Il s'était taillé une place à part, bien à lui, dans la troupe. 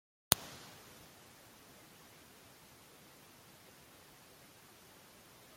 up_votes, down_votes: 1, 2